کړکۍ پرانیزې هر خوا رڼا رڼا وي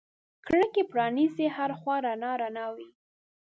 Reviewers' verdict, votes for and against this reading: rejected, 1, 2